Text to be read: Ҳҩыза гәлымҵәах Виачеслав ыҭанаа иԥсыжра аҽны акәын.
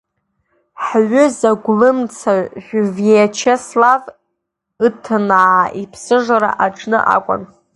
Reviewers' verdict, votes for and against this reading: rejected, 0, 2